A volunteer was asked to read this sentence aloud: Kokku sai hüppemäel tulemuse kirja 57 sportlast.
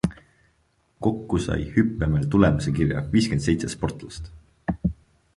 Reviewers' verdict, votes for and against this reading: rejected, 0, 2